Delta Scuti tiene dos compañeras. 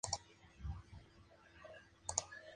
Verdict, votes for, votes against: rejected, 0, 6